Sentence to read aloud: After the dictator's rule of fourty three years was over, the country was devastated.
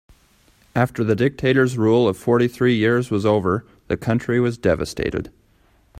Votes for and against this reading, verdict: 3, 0, accepted